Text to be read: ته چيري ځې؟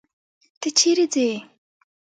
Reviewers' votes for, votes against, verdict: 3, 1, accepted